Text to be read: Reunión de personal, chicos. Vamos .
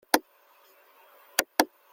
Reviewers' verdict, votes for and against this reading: rejected, 0, 2